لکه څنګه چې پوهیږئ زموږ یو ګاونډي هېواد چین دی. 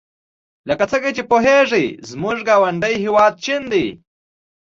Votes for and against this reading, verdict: 2, 0, accepted